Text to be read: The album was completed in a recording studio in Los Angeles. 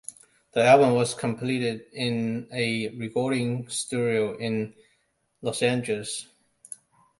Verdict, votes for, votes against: accepted, 2, 1